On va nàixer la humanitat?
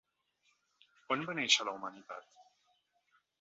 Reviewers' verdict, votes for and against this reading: rejected, 0, 2